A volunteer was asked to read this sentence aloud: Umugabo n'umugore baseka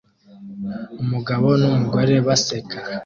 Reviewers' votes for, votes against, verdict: 2, 0, accepted